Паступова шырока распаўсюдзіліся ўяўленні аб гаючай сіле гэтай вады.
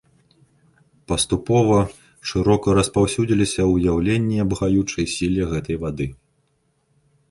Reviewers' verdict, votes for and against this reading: accepted, 2, 0